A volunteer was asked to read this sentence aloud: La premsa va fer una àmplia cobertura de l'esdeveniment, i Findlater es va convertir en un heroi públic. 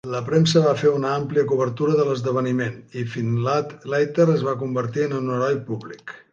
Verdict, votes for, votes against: rejected, 0, 2